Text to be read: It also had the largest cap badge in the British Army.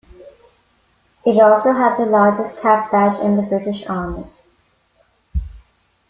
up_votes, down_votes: 2, 0